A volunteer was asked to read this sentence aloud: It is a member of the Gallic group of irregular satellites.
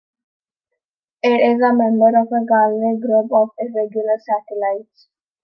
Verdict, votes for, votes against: accepted, 2, 1